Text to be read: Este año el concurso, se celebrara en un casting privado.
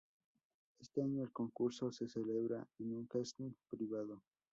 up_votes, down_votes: 0, 2